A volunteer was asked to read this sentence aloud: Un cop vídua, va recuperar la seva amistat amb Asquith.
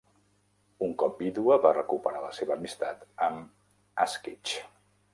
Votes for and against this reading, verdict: 3, 0, accepted